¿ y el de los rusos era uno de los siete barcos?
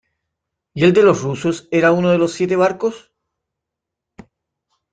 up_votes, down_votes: 2, 0